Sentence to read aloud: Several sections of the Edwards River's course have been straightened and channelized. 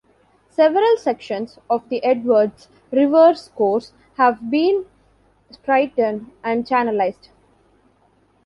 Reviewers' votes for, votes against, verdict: 2, 0, accepted